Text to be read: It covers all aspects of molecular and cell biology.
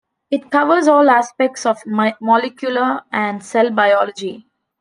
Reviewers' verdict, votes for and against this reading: rejected, 0, 2